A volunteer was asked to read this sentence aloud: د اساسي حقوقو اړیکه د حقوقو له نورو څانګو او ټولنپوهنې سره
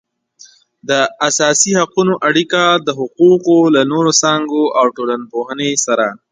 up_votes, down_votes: 0, 2